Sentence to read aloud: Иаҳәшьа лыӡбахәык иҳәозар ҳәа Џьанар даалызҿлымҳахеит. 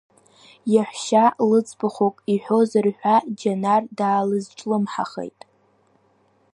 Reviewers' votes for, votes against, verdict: 2, 0, accepted